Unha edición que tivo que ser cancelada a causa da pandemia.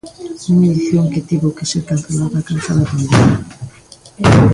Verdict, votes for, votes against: rejected, 0, 2